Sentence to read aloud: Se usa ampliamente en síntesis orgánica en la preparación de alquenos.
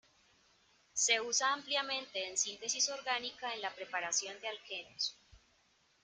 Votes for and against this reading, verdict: 1, 2, rejected